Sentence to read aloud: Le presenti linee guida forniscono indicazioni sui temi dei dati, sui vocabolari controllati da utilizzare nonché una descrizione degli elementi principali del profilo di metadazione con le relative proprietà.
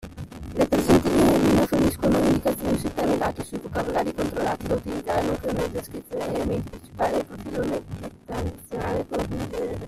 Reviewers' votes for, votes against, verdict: 0, 2, rejected